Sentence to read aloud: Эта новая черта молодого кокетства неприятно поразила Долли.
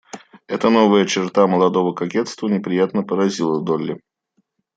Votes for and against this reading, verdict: 2, 0, accepted